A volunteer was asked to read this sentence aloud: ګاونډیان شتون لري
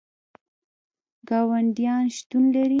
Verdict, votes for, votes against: accepted, 2, 0